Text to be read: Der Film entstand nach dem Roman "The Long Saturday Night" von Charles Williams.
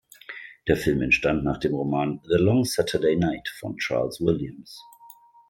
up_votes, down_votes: 2, 0